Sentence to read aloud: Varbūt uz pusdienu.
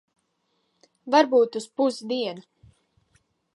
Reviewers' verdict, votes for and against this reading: rejected, 1, 2